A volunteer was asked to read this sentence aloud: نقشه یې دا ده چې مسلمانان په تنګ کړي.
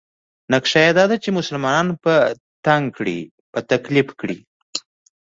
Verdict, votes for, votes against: rejected, 0, 2